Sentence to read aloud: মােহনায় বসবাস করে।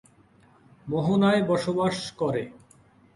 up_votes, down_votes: 2, 0